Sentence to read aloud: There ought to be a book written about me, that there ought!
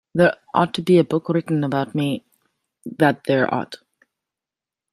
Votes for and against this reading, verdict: 1, 2, rejected